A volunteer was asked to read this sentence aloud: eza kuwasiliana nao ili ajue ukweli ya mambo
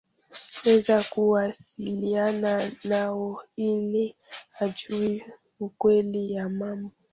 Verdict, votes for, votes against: rejected, 0, 2